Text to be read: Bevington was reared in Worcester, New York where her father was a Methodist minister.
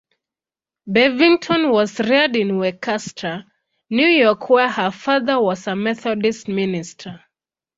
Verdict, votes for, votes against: rejected, 1, 2